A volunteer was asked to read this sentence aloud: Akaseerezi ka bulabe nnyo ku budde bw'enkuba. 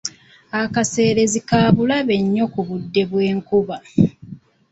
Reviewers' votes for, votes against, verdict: 1, 2, rejected